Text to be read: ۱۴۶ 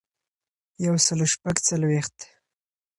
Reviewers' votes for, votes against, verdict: 0, 2, rejected